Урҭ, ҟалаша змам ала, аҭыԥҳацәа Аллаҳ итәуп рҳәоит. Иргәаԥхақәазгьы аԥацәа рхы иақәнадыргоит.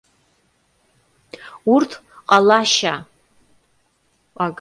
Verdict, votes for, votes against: rejected, 0, 2